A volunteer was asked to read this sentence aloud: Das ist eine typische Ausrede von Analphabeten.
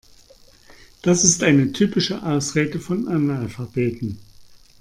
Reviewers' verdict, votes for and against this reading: accepted, 2, 0